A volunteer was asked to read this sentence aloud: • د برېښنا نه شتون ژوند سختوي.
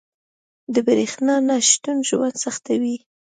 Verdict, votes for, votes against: accepted, 2, 0